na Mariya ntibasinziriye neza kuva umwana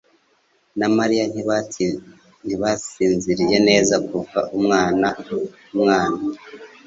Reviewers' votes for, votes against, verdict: 0, 2, rejected